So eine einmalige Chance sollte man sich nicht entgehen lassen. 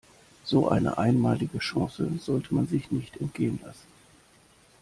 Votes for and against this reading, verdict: 2, 0, accepted